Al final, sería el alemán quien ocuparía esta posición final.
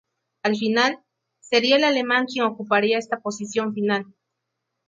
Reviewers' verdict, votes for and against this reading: rejected, 0, 2